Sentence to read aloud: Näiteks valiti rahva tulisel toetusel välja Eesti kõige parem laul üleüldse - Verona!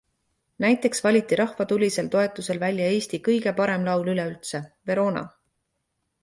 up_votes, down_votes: 2, 0